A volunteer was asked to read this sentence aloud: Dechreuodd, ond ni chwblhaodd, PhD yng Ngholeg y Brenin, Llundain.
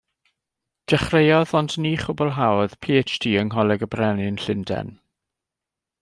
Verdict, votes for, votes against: accepted, 2, 0